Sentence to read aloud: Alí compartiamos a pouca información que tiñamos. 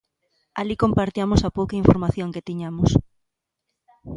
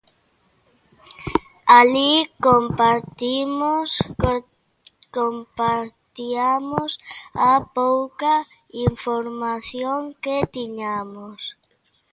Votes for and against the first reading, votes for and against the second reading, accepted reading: 2, 0, 0, 2, first